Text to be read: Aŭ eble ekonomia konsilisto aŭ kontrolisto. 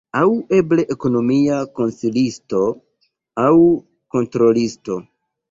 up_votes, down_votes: 2, 0